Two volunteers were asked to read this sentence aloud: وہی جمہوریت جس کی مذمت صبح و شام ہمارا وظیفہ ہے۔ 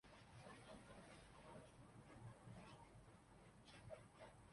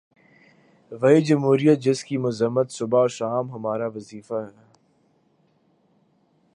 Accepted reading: second